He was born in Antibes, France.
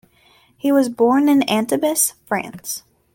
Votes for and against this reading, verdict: 1, 2, rejected